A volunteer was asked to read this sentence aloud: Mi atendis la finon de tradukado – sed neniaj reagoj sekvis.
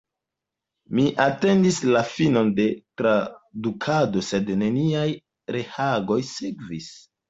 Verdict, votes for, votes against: rejected, 0, 2